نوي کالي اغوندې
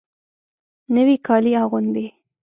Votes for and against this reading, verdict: 2, 0, accepted